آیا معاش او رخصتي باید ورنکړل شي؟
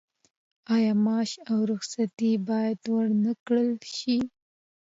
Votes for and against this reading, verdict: 2, 0, accepted